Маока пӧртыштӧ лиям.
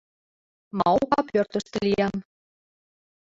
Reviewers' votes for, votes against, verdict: 3, 0, accepted